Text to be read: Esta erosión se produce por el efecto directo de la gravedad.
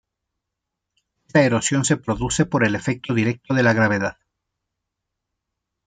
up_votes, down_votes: 0, 2